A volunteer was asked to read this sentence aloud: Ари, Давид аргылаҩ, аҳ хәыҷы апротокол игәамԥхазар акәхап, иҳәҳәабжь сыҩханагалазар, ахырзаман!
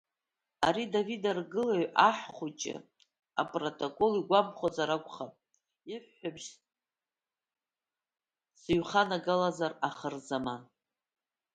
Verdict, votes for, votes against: rejected, 0, 2